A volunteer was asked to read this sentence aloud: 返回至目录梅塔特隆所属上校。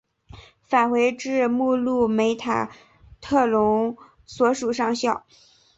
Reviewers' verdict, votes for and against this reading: accepted, 3, 0